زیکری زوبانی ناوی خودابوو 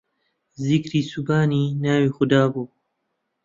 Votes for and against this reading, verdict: 2, 1, accepted